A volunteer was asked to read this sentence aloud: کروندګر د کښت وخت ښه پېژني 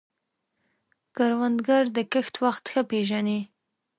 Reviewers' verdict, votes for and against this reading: accepted, 5, 0